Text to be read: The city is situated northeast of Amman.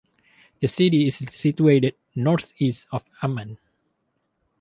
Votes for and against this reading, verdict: 4, 0, accepted